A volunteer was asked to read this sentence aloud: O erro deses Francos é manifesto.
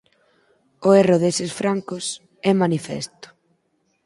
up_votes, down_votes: 4, 0